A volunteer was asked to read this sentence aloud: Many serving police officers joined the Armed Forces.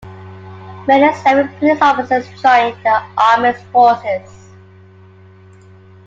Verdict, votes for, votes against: accepted, 2, 1